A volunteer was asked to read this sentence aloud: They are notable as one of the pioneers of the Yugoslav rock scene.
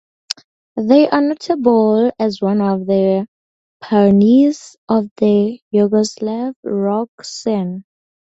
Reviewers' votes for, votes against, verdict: 2, 2, rejected